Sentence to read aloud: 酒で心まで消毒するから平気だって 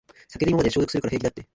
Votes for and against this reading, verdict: 1, 2, rejected